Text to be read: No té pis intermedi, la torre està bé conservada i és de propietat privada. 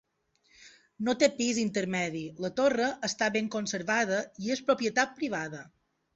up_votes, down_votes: 1, 2